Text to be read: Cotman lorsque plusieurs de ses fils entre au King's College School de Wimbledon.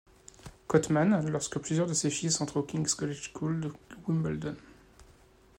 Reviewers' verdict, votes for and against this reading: accepted, 2, 1